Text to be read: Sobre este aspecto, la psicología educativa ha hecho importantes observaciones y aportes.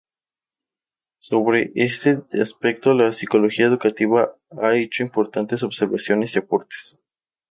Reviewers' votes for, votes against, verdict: 2, 0, accepted